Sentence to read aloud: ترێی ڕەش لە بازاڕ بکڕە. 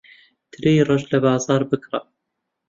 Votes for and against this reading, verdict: 2, 0, accepted